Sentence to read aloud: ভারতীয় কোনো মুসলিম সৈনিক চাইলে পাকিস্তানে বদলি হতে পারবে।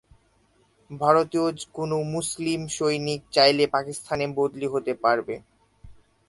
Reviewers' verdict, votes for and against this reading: accepted, 8, 2